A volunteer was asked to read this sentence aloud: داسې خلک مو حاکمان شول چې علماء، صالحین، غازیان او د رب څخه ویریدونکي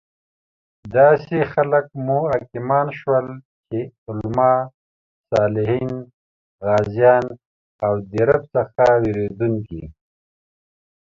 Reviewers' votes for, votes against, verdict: 2, 3, rejected